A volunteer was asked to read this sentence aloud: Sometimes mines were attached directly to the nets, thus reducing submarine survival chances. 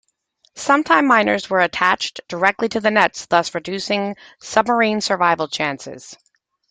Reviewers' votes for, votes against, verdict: 0, 2, rejected